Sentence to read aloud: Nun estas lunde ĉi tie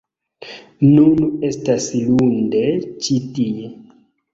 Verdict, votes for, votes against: accepted, 2, 0